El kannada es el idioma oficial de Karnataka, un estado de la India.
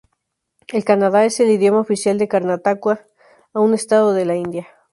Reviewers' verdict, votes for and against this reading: rejected, 0, 2